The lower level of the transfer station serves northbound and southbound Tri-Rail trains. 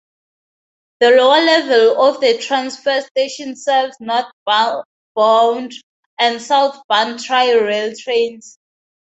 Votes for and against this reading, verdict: 0, 2, rejected